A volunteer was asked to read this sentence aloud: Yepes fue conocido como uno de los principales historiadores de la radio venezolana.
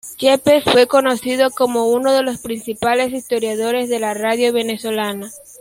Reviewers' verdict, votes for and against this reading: accepted, 2, 0